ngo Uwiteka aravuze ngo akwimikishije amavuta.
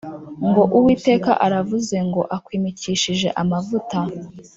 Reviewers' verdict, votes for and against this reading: accepted, 4, 0